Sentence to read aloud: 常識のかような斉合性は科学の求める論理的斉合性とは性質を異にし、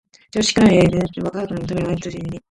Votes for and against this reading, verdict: 0, 2, rejected